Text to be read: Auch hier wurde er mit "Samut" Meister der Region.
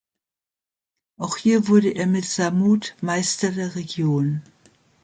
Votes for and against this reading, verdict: 2, 0, accepted